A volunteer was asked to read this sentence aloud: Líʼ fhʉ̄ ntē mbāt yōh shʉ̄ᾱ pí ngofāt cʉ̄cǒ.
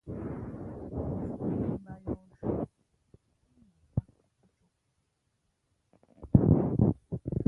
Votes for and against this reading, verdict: 1, 2, rejected